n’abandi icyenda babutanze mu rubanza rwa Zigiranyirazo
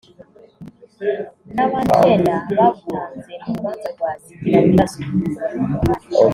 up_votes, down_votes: 1, 2